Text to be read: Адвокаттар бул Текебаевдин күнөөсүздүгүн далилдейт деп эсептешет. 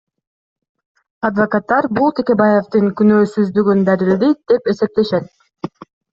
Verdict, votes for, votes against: accepted, 2, 0